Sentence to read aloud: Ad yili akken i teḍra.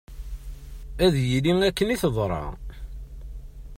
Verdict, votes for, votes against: accepted, 2, 0